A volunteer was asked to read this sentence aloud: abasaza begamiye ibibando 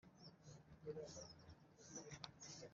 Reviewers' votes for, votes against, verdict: 0, 2, rejected